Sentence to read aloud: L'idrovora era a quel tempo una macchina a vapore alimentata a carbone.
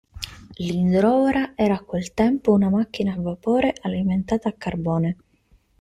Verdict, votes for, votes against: rejected, 1, 2